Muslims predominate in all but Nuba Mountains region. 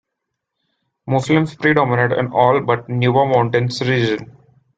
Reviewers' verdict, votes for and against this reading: accepted, 2, 0